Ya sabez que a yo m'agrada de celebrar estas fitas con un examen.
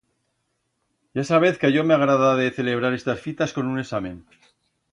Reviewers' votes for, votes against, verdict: 2, 0, accepted